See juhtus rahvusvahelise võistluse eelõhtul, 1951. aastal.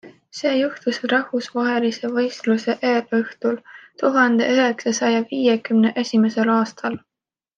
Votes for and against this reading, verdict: 0, 2, rejected